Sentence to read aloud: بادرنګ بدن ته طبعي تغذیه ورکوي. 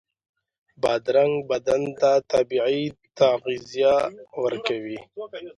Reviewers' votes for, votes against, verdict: 1, 2, rejected